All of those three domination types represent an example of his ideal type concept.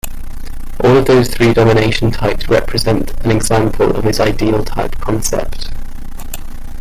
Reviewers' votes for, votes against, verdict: 2, 1, accepted